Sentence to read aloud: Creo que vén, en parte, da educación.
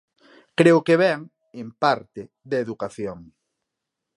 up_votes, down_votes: 2, 0